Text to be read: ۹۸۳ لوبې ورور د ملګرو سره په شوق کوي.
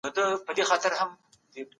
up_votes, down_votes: 0, 2